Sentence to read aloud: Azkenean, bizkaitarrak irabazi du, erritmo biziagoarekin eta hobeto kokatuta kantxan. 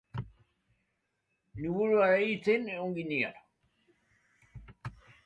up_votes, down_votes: 0, 2